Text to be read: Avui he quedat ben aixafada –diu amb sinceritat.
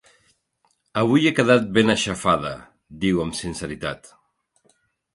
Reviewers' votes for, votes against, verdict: 3, 0, accepted